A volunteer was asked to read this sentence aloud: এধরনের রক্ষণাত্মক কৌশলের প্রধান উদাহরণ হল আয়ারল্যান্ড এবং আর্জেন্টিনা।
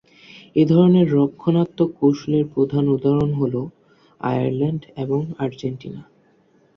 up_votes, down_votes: 2, 0